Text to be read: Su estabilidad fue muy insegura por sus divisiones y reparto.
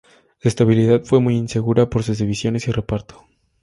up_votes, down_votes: 2, 0